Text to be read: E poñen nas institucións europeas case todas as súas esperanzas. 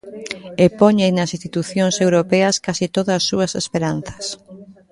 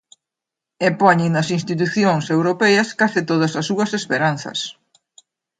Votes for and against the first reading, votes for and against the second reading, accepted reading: 1, 2, 2, 0, second